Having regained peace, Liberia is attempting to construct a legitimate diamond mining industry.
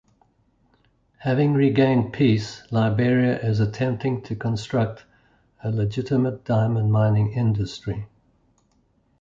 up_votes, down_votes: 2, 0